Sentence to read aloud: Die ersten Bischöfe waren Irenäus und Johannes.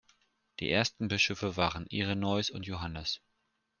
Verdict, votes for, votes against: rejected, 0, 2